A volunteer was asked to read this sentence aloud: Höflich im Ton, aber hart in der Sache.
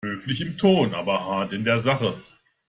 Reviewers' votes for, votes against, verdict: 2, 0, accepted